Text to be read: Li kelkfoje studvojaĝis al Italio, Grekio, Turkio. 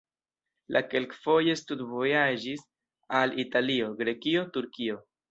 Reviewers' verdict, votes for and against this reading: rejected, 1, 2